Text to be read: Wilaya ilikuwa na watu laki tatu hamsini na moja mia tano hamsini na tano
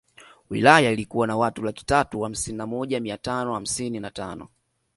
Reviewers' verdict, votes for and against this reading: accepted, 2, 0